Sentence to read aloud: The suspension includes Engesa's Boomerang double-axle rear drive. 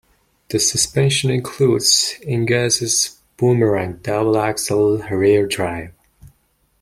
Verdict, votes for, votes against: accepted, 2, 0